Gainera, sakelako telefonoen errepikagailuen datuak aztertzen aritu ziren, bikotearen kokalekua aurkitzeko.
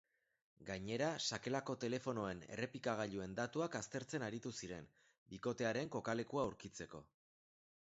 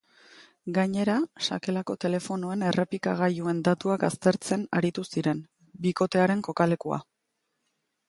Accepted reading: first